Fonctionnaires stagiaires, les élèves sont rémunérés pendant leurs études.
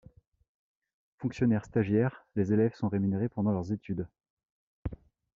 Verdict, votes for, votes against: accepted, 2, 0